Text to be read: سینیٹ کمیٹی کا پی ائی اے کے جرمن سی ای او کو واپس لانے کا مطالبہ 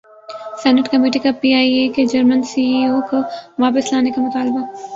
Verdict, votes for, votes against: rejected, 1, 2